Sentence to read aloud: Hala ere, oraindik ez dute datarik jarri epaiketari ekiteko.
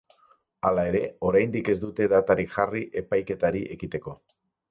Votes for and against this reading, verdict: 4, 0, accepted